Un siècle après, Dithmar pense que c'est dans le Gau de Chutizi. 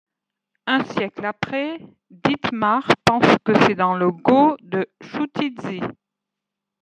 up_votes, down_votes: 0, 2